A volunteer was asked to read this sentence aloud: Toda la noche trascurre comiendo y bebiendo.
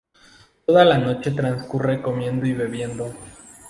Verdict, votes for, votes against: accepted, 2, 0